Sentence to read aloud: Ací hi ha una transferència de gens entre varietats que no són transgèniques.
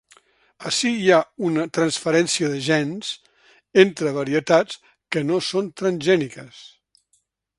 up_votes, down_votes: 2, 0